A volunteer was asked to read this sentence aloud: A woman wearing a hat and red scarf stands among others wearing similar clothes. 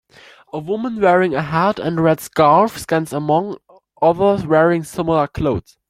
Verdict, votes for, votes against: rejected, 1, 2